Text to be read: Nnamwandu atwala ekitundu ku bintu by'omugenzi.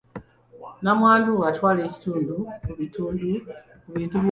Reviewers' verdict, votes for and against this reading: rejected, 0, 2